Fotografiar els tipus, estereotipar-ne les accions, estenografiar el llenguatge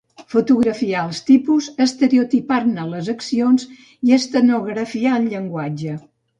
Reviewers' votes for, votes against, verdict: 1, 2, rejected